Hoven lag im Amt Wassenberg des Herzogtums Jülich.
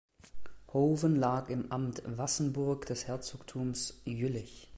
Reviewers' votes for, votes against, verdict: 1, 2, rejected